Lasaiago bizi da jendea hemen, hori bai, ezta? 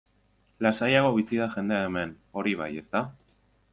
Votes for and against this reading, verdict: 2, 0, accepted